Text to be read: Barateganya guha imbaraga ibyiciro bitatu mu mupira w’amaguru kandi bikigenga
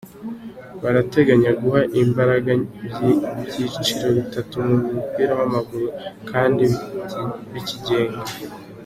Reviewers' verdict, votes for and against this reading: accepted, 2, 0